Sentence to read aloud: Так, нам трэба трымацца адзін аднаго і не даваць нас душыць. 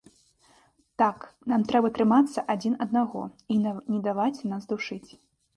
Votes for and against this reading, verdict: 1, 2, rejected